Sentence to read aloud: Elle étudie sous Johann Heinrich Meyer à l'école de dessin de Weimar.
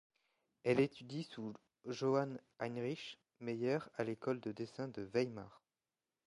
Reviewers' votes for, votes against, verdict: 2, 0, accepted